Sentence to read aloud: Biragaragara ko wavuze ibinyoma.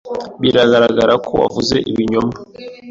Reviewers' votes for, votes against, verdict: 2, 0, accepted